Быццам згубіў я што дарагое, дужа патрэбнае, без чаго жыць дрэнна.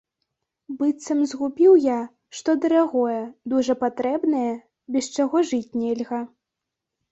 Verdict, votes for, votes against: rejected, 0, 2